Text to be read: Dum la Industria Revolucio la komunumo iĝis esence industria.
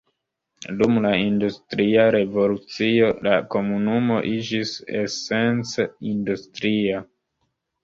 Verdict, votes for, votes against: accepted, 2, 1